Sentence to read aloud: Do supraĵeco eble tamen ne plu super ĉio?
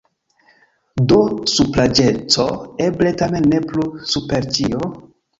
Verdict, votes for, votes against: accepted, 2, 1